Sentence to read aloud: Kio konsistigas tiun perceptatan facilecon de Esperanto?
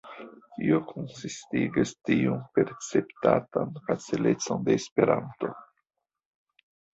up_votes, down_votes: 0, 2